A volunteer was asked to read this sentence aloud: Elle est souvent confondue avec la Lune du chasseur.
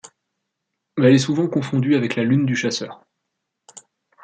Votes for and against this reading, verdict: 2, 0, accepted